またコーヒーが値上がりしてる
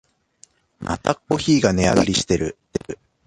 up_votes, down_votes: 1, 2